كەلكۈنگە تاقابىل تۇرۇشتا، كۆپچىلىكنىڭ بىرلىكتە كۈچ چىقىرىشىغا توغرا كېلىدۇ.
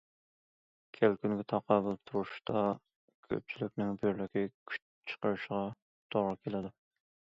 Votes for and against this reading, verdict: 0, 2, rejected